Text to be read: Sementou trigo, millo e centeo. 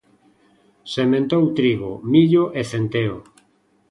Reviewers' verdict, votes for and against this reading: accepted, 2, 0